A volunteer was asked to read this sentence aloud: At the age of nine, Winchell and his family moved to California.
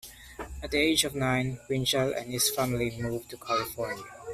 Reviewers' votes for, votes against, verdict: 1, 2, rejected